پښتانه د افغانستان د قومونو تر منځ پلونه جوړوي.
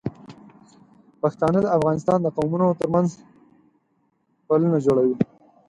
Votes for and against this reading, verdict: 4, 0, accepted